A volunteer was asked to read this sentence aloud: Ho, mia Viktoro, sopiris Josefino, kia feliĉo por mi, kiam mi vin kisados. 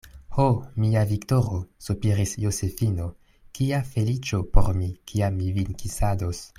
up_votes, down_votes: 2, 0